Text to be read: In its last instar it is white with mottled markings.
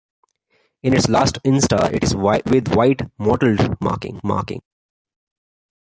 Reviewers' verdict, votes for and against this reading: rejected, 0, 2